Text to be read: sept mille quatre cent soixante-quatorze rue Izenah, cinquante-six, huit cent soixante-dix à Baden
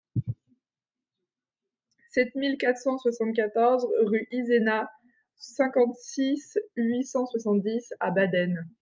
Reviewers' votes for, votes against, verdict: 2, 0, accepted